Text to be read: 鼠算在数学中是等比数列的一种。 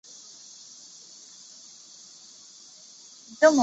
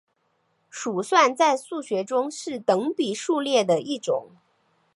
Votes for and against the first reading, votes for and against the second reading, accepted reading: 2, 3, 2, 0, second